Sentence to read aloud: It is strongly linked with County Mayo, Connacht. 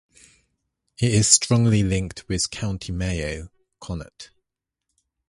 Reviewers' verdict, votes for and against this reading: accepted, 2, 0